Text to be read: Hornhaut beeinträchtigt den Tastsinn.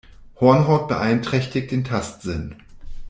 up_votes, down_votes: 2, 0